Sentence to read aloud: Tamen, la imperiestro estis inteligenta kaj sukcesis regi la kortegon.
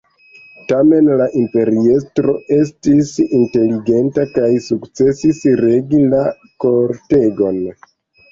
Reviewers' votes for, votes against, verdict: 2, 0, accepted